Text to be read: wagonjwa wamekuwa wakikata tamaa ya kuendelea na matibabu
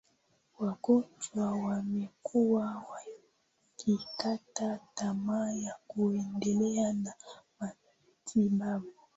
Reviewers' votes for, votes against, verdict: 6, 7, rejected